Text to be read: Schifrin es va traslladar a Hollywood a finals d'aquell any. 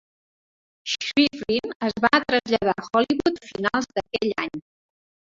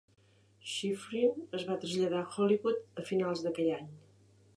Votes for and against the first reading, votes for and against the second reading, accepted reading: 0, 2, 3, 0, second